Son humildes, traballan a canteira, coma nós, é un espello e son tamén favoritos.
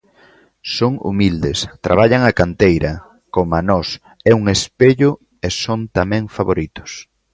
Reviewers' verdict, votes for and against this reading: accepted, 2, 0